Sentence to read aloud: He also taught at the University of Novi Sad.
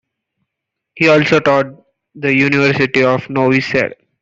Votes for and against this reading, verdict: 0, 2, rejected